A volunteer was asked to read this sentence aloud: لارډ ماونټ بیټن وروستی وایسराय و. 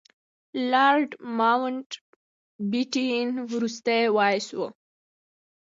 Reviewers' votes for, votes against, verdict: 1, 2, rejected